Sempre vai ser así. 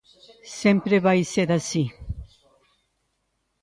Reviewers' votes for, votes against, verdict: 2, 1, accepted